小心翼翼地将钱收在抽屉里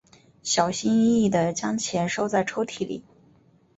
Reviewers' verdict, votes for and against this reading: accepted, 2, 0